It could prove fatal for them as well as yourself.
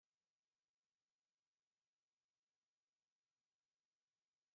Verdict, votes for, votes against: rejected, 0, 2